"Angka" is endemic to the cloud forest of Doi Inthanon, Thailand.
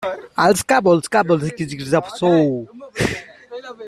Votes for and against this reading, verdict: 0, 2, rejected